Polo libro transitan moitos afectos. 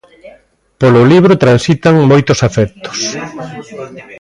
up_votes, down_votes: 2, 0